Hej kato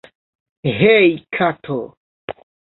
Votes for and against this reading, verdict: 1, 2, rejected